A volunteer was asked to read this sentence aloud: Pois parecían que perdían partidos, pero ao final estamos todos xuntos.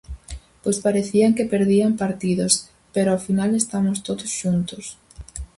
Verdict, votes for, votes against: accepted, 2, 0